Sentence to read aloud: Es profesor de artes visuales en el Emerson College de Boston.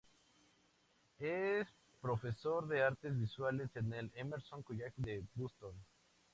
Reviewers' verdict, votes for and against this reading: accepted, 2, 0